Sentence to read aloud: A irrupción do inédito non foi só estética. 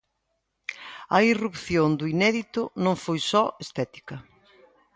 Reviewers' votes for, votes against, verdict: 2, 0, accepted